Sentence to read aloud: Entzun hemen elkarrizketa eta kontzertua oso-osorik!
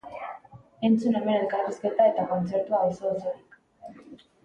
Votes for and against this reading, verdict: 2, 0, accepted